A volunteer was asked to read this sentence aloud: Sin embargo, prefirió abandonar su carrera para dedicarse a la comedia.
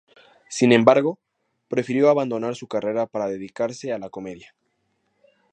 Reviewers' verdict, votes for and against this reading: accepted, 2, 0